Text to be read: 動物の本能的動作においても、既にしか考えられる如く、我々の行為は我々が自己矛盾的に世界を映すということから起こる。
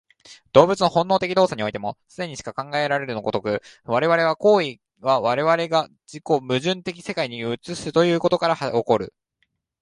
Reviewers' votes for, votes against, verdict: 2, 1, accepted